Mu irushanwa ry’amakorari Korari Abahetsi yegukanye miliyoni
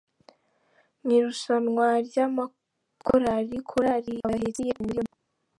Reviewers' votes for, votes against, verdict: 0, 2, rejected